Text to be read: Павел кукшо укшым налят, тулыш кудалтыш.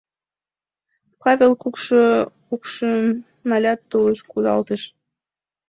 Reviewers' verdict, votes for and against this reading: accepted, 2, 1